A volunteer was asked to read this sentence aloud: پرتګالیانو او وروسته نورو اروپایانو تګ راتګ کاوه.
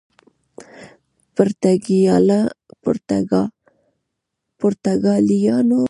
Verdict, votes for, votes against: rejected, 0, 2